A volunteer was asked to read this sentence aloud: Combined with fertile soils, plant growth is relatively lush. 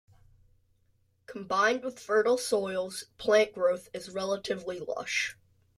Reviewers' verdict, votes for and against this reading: accepted, 2, 0